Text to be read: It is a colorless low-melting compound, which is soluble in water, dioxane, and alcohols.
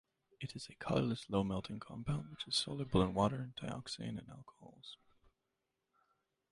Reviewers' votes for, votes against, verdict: 1, 2, rejected